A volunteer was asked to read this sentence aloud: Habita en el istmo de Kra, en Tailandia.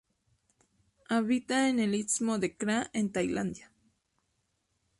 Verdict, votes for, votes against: accepted, 4, 0